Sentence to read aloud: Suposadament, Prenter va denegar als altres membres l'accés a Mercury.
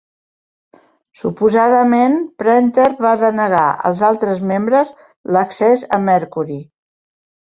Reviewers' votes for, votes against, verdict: 1, 2, rejected